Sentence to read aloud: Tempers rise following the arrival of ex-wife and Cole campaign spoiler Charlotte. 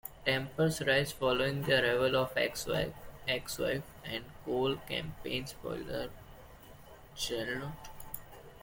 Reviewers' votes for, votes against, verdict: 0, 2, rejected